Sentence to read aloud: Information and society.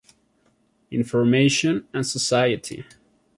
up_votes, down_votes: 2, 0